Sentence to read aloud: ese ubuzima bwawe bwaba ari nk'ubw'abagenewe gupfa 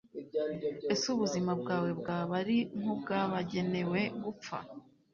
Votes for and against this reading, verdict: 2, 0, accepted